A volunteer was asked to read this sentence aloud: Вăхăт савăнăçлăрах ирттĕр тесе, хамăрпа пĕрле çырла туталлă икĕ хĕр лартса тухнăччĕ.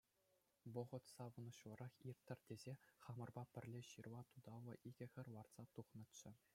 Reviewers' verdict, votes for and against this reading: accepted, 2, 0